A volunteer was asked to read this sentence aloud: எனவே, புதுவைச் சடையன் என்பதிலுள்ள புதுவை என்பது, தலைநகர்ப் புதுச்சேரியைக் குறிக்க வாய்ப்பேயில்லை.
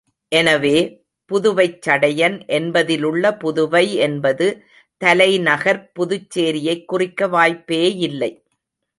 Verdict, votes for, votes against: accepted, 2, 0